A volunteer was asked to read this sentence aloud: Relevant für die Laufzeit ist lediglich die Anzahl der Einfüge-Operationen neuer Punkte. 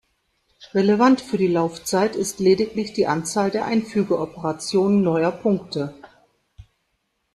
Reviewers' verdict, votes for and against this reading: rejected, 1, 2